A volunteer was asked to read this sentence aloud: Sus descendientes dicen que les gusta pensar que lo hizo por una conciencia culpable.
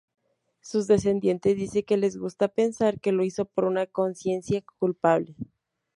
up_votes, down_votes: 0, 2